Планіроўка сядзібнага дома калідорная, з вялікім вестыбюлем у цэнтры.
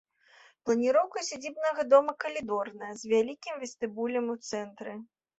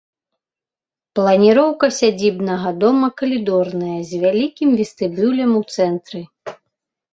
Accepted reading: second